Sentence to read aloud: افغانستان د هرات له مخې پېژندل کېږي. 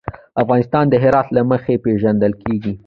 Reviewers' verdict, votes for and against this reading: rejected, 1, 2